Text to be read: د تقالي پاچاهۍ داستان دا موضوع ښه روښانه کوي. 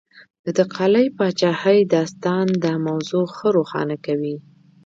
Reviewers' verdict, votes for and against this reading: rejected, 1, 2